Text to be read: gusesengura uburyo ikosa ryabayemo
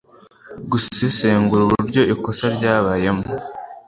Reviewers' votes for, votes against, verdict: 2, 0, accepted